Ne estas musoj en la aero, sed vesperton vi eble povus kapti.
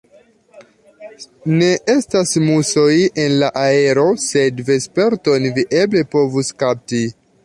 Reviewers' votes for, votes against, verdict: 2, 0, accepted